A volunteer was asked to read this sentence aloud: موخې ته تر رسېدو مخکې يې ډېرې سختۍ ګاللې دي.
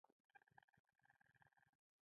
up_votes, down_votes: 2, 0